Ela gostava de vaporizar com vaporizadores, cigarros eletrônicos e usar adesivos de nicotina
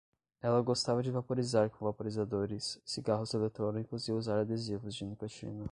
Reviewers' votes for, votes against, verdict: 0, 5, rejected